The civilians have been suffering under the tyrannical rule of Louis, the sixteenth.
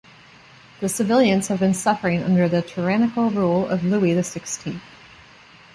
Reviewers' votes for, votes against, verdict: 2, 0, accepted